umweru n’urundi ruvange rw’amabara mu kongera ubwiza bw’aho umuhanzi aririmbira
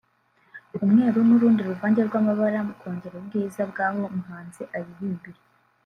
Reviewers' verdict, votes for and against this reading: accepted, 2, 0